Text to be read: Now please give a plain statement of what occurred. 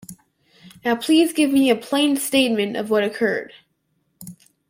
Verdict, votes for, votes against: rejected, 0, 2